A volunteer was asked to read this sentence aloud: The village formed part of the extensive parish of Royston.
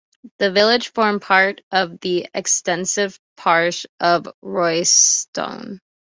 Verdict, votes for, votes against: accepted, 2, 0